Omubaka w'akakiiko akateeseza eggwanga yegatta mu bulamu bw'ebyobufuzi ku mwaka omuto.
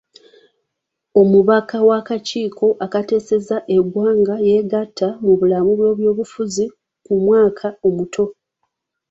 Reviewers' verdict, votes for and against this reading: accepted, 2, 0